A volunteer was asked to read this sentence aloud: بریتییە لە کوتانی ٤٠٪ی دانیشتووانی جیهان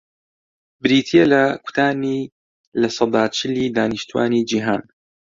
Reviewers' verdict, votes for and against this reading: rejected, 0, 2